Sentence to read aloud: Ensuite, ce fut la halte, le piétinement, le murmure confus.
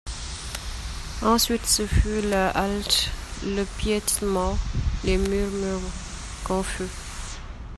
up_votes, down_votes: 1, 2